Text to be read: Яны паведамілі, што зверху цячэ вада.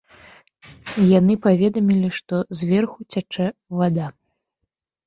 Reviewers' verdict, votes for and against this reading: accepted, 2, 0